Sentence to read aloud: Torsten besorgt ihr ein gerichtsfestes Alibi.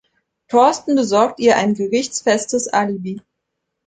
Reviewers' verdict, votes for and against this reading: accepted, 3, 0